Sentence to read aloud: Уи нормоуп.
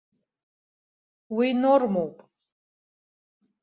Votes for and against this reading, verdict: 2, 0, accepted